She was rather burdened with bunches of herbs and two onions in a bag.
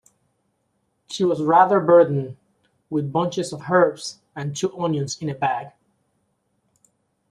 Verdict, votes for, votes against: accepted, 2, 1